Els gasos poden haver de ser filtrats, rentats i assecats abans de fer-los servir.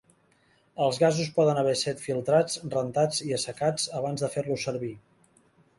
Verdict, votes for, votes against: rejected, 0, 2